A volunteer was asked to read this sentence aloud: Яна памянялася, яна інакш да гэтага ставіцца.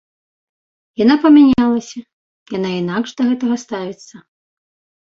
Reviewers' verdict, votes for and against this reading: accepted, 2, 0